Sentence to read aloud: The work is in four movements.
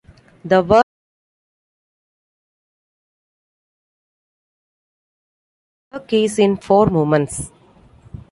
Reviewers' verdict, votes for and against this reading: rejected, 1, 2